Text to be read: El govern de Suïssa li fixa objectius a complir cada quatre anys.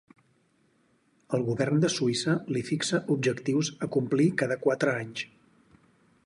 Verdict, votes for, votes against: accepted, 4, 0